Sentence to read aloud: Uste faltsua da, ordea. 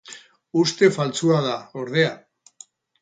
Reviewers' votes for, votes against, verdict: 2, 2, rejected